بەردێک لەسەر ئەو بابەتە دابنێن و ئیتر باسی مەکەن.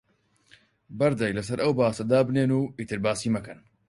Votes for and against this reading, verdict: 0, 4, rejected